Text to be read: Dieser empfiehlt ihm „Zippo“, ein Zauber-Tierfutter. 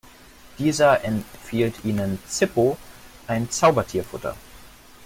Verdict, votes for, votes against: rejected, 0, 2